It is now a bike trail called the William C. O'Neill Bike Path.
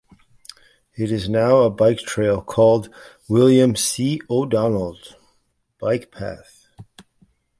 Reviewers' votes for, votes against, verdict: 0, 2, rejected